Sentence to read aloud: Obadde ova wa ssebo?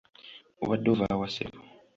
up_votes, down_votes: 2, 0